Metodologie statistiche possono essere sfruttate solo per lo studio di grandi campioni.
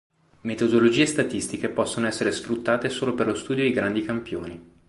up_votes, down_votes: 2, 0